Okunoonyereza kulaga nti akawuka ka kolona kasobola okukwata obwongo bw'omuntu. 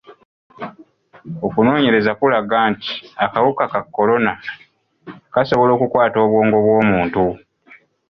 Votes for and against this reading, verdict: 0, 2, rejected